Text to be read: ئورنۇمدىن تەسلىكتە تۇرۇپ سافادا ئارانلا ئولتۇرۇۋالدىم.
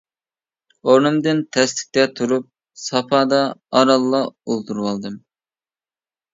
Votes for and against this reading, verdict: 2, 0, accepted